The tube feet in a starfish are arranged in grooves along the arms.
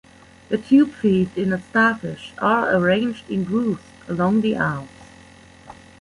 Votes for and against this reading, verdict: 1, 2, rejected